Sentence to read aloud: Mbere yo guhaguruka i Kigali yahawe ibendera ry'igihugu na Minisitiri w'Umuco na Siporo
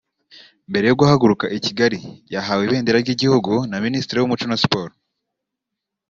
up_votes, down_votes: 2, 0